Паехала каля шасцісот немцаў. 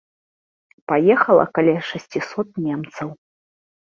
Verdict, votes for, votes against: accepted, 2, 0